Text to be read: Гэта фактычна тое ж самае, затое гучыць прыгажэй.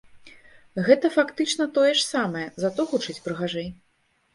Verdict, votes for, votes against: rejected, 1, 2